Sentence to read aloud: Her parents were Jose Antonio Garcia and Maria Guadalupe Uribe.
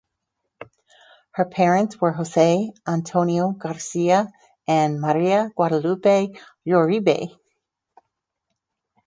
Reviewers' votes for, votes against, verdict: 4, 0, accepted